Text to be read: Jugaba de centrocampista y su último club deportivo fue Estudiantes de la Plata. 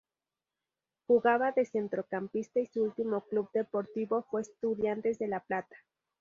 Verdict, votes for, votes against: accepted, 2, 0